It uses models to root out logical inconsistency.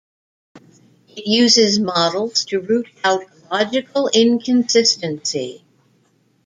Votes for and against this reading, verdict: 2, 0, accepted